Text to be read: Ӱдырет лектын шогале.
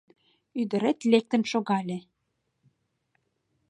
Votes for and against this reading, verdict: 2, 0, accepted